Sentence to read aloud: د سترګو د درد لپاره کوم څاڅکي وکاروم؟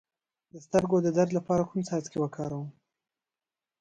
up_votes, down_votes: 0, 2